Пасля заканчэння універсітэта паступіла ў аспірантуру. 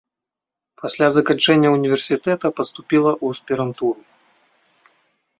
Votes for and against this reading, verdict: 2, 0, accepted